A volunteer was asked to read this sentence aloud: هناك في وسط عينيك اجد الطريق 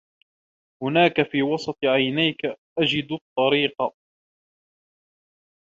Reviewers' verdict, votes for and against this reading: accepted, 2, 0